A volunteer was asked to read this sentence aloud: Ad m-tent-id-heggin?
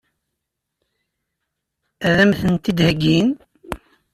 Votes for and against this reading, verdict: 2, 0, accepted